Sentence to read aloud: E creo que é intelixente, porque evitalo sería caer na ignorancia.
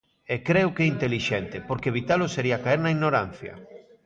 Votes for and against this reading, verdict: 1, 2, rejected